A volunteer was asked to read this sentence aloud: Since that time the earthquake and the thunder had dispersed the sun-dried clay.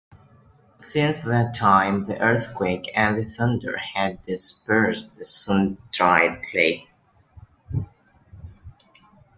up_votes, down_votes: 1, 2